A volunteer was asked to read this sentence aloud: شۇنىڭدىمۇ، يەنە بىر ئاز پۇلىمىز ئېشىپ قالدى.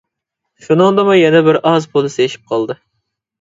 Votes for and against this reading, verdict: 0, 2, rejected